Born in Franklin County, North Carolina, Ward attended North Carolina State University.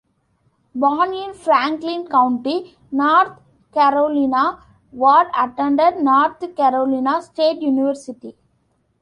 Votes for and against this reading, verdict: 0, 2, rejected